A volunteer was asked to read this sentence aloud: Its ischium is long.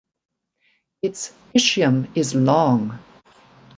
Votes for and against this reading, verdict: 2, 0, accepted